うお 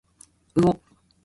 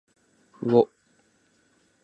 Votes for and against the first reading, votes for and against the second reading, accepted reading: 1, 2, 2, 1, second